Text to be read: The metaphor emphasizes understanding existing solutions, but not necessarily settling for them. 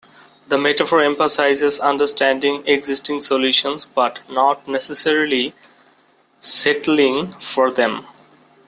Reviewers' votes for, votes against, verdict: 2, 0, accepted